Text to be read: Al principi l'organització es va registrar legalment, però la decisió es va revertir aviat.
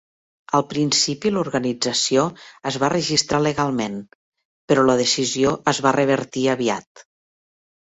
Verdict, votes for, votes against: accepted, 4, 0